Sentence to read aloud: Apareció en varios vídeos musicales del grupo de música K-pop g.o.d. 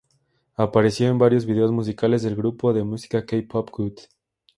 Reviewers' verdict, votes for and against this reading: accepted, 2, 0